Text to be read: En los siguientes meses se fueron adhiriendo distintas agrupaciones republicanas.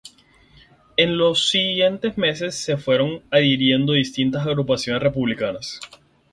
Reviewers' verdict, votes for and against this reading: rejected, 0, 2